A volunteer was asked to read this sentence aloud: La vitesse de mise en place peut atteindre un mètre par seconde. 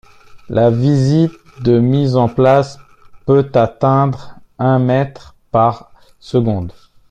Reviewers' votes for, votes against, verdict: 0, 2, rejected